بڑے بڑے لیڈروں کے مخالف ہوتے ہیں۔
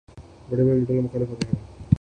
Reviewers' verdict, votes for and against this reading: rejected, 0, 2